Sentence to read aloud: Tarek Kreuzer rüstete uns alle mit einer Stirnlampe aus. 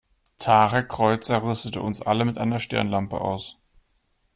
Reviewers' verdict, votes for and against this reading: accepted, 2, 0